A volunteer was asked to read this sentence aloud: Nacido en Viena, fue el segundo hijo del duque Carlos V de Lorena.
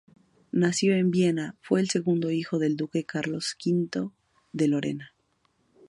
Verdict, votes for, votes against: rejected, 0, 2